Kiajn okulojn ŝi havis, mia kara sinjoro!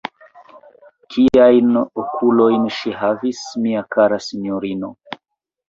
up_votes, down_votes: 0, 2